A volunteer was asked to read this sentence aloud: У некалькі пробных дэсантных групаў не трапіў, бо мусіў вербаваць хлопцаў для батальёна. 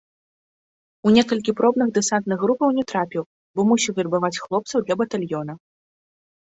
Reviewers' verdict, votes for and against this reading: accepted, 2, 0